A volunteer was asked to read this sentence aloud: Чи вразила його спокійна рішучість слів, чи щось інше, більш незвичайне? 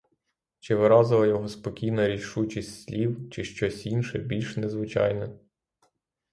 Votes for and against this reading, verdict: 0, 3, rejected